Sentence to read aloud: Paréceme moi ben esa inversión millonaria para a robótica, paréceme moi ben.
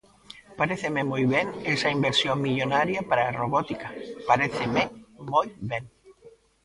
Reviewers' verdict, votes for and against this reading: rejected, 0, 2